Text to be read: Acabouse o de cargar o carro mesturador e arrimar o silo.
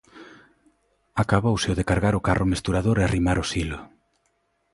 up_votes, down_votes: 2, 0